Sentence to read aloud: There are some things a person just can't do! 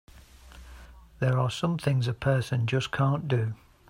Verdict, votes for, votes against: accepted, 2, 0